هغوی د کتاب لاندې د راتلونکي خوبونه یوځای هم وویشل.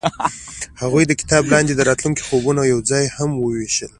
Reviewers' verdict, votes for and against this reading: accepted, 2, 0